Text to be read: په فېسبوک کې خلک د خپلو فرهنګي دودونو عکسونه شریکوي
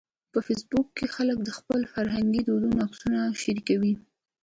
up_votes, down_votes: 2, 0